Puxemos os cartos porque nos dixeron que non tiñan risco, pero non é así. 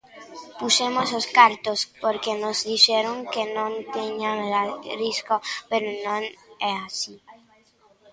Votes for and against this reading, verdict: 0, 2, rejected